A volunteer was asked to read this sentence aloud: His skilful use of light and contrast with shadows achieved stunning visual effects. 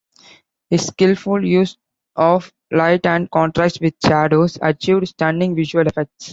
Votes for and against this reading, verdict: 2, 0, accepted